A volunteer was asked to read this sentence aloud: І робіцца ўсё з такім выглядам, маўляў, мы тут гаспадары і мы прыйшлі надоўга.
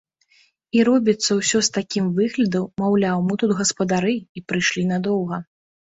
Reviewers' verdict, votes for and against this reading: rejected, 1, 2